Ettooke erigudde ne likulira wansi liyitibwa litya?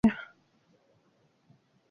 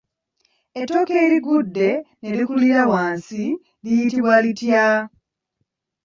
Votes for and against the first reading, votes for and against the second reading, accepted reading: 0, 2, 2, 1, second